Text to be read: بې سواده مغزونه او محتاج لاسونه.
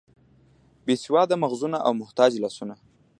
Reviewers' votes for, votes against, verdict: 2, 0, accepted